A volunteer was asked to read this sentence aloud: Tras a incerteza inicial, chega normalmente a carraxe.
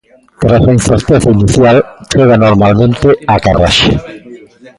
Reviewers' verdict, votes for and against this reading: accepted, 2, 1